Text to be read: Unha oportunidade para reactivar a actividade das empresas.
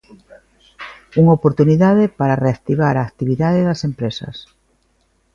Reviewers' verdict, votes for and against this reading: accepted, 2, 0